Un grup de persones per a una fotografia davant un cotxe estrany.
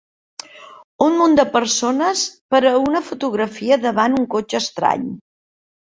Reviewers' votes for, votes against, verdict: 0, 3, rejected